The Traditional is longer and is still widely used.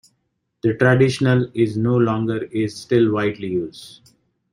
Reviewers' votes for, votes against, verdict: 0, 2, rejected